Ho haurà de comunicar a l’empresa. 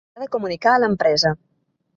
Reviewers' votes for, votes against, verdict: 0, 2, rejected